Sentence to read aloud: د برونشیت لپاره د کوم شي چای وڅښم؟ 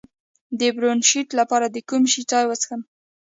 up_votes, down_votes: 0, 2